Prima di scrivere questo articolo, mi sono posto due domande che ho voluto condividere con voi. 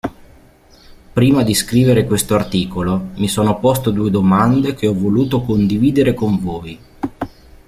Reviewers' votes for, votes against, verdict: 1, 2, rejected